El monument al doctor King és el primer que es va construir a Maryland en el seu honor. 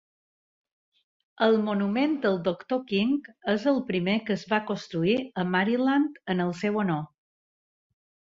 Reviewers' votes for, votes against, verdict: 0, 2, rejected